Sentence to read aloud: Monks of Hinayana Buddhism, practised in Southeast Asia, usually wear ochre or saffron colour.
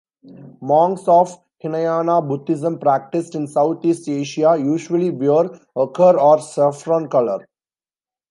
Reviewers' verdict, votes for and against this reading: rejected, 1, 2